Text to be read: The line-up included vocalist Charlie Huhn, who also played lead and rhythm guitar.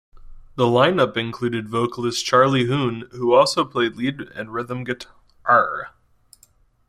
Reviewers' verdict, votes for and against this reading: rejected, 1, 2